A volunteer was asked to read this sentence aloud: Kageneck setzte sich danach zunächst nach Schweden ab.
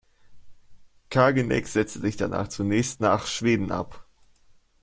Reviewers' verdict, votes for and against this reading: accepted, 2, 0